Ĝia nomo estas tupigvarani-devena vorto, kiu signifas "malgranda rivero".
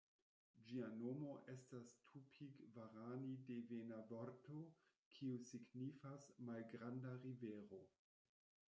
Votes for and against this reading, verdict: 1, 2, rejected